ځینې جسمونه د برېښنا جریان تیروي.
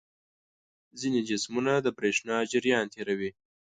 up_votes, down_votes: 2, 0